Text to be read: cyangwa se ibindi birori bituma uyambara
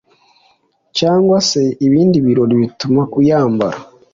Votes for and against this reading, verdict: 2, 0, accepted